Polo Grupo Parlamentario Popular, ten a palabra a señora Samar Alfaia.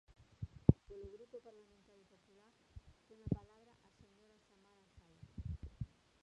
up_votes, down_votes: 0, 2